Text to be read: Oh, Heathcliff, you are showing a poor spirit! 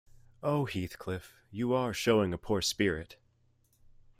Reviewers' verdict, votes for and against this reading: accepted, 2, 0